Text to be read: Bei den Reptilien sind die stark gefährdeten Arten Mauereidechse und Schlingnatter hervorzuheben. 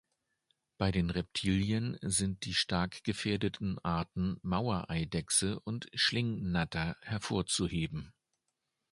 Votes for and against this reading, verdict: 2, 0, accepted